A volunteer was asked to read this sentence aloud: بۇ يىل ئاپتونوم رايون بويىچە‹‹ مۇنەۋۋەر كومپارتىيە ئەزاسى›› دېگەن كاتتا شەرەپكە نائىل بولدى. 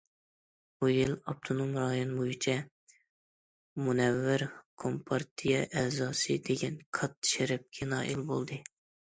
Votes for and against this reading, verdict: 2, 0, accepted